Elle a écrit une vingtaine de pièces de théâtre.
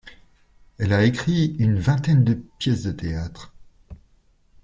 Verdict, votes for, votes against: rejected, 1, 2